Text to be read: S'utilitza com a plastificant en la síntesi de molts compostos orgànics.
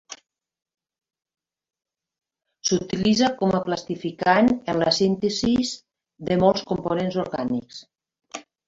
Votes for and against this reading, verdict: 1, 3, rejected